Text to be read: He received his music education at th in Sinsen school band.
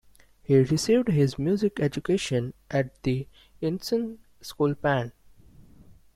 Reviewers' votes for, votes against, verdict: 0, 2, rejected